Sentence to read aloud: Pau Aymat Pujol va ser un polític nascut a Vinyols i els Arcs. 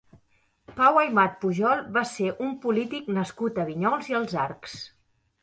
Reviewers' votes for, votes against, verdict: 2, 0, accepted